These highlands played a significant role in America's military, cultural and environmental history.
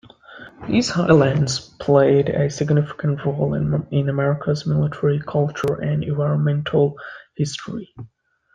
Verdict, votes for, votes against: accepted, 2, 0